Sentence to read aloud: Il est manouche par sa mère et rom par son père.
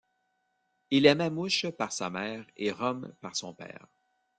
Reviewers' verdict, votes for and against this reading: rejected, 1, 2